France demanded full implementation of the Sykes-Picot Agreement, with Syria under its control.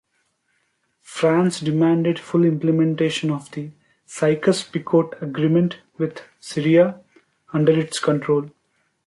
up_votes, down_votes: 0, 2